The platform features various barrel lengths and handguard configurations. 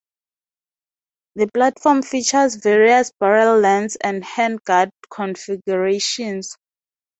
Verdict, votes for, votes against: accepted, 2, 0